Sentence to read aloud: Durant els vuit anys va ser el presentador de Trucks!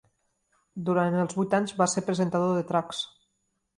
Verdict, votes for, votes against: accepted, 4, 2